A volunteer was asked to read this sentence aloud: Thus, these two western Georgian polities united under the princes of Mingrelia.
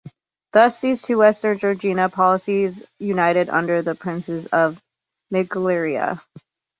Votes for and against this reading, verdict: 1, 2, rejected